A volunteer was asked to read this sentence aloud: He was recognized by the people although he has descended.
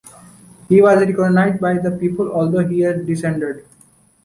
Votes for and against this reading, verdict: 1, 2, rejected